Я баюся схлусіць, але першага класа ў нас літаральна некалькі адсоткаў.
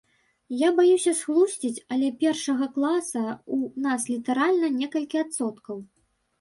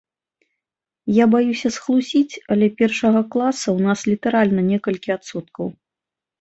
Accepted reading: second